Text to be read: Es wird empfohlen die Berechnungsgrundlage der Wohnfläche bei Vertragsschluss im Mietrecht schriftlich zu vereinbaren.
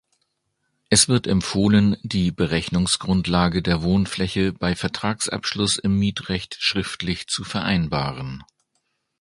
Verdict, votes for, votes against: accepted, 2, 1